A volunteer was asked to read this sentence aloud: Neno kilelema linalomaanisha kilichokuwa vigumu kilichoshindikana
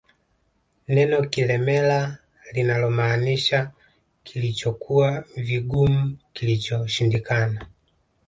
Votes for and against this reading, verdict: 0, 2, rejected